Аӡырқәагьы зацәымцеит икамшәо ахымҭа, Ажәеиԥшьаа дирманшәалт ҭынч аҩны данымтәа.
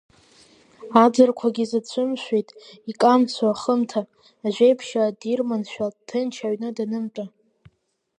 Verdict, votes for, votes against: rejected, 1, 3